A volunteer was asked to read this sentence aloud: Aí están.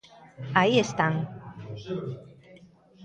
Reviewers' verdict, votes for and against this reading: accepted, 2, 0